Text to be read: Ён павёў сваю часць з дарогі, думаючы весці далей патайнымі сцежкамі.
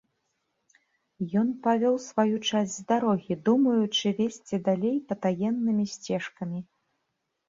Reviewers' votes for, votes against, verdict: 1, 2, rejected